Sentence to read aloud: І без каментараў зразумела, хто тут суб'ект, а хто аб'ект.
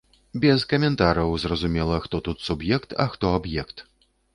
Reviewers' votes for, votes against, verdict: 1, 3, rejected